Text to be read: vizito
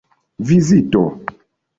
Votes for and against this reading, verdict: 2, 0, accepted